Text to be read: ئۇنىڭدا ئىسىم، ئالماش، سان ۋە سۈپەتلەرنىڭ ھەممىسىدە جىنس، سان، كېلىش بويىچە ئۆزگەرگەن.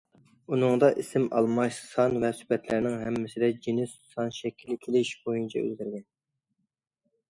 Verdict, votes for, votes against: rejected, 0, 2